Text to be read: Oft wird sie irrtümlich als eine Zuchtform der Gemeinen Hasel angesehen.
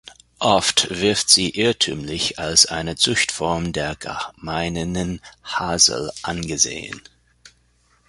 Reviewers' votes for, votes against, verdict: 0, 2, rejected